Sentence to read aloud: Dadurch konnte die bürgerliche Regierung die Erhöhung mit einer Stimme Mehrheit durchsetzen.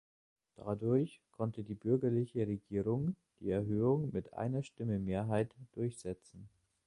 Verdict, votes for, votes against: accepted, 2, 0